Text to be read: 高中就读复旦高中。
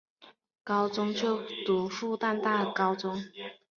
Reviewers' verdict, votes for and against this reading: accepted, 2, 0